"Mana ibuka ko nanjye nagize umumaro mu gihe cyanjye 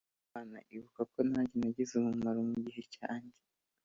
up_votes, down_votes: 3, 1